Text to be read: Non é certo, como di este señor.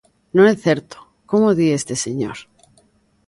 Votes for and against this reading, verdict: 2, 0, accepted